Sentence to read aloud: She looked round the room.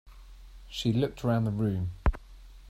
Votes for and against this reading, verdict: 2, 0, accepted